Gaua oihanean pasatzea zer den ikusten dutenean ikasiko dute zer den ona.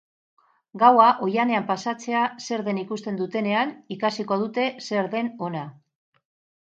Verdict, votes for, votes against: accepted, 6, 0